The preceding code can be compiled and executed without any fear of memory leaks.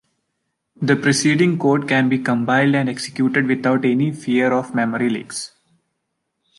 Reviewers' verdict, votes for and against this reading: accepted, 2, 0